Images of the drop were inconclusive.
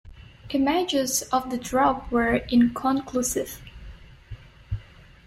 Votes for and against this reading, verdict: 0, 2, rejected